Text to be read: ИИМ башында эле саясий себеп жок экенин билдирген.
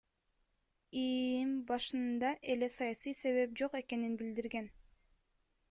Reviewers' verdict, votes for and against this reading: accepted, 2, 0